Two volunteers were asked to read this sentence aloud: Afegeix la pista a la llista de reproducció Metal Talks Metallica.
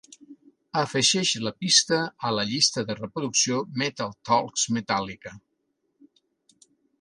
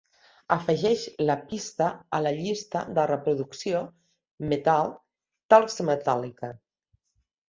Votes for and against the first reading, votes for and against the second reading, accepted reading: 1, 2, 2, 1, second